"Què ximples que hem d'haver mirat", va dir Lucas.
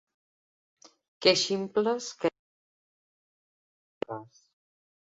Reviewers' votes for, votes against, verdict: 1, 2, rejected